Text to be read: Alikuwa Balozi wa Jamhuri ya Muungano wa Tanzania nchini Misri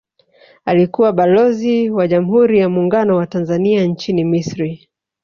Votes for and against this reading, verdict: 0, 2, rejected